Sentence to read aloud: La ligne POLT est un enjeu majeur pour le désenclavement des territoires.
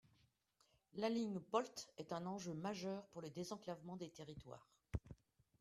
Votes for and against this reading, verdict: 2, 0, accepted